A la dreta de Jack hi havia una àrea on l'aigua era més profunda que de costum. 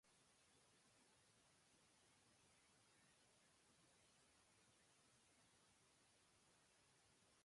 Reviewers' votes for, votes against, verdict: 0, 2, rejected